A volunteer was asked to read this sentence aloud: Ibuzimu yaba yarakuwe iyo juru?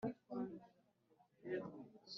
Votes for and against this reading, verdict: 0, 3, rejected